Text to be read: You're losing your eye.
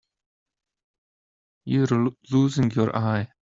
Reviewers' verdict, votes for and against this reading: rejected, 0, 2